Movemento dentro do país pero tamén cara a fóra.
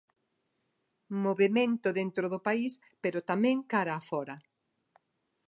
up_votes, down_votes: 2, 0